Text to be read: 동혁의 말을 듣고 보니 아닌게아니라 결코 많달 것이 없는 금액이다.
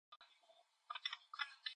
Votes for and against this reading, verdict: 0, 2, rejected